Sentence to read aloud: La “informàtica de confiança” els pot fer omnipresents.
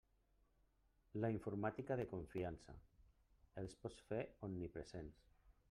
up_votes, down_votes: 0, 2